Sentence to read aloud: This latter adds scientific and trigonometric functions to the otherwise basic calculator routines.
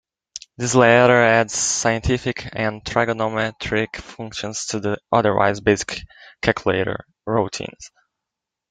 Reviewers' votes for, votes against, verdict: 0, 2, rejected